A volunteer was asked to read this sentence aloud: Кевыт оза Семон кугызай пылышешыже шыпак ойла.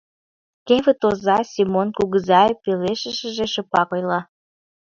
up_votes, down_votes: 1, 2